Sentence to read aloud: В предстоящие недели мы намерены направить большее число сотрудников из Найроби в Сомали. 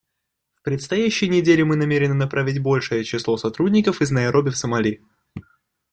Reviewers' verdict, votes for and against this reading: accepted, 2, 0